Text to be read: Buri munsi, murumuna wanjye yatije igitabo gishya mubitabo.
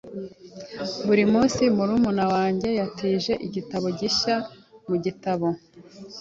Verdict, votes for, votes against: rejected, 2, 3